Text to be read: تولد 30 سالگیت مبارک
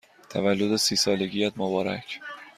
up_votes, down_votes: 0, 2